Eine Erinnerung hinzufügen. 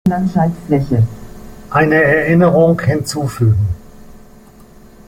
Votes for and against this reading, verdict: 0, 2, rejected